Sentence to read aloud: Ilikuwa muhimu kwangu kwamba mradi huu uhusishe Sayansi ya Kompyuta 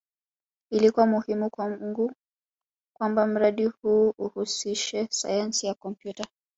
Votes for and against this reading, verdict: 0, 2, rejected